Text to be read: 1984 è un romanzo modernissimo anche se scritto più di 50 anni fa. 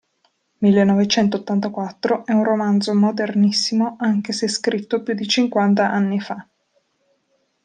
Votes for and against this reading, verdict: 0, 2, rejected